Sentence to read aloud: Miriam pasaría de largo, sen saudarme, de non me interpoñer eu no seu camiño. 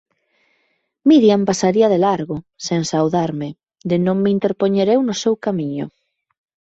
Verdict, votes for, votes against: accepted, 2, 0